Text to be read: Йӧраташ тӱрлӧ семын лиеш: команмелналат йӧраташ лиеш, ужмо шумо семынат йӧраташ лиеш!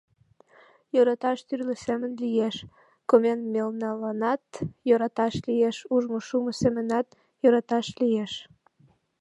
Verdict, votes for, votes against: rejected, 1, 2